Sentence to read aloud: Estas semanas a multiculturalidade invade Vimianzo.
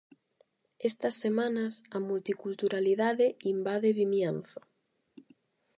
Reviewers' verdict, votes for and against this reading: rejected, 4, 4